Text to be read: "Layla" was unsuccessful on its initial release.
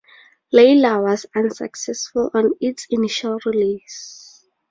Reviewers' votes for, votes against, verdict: 2, 0, accepted